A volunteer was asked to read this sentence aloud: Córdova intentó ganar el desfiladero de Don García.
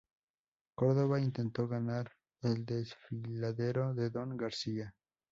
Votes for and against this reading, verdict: 2, 0, accepted